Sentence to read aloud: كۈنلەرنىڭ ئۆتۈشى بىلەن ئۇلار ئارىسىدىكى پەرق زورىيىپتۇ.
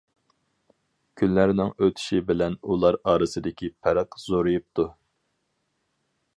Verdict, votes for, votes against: accepted, 4, 0